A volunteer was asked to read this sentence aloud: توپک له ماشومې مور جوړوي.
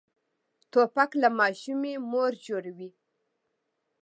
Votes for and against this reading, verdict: 2, 0, accepted